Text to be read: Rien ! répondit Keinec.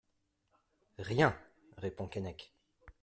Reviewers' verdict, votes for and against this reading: rejected, 0, 2